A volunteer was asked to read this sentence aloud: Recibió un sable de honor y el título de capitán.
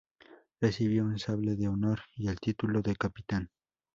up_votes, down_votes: 0, 2